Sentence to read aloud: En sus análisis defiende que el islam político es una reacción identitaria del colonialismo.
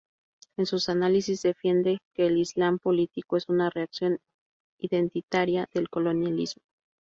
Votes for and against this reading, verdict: 0, 2, rejected